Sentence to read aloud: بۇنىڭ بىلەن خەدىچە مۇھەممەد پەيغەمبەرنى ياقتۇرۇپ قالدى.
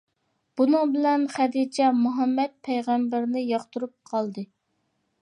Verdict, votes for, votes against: accepted, 2, 0